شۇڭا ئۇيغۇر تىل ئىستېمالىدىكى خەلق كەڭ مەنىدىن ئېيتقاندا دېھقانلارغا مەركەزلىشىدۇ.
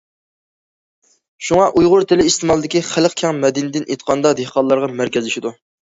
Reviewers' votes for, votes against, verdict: 1, 2, rejected